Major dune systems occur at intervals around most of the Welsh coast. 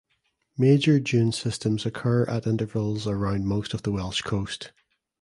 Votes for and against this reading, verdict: 2, 0, accepted